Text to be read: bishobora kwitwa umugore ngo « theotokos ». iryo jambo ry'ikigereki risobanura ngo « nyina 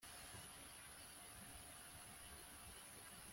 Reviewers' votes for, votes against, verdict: 1, 2, rejected